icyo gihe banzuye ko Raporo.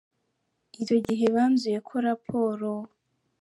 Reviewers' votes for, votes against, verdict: 0, 2, rejected